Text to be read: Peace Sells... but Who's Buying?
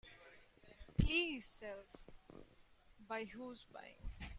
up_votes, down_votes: 1, 2